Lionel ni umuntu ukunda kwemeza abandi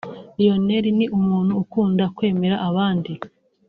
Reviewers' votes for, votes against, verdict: 0, 2, rejected